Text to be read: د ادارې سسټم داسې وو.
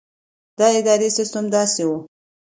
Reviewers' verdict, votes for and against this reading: accepted, 2, 0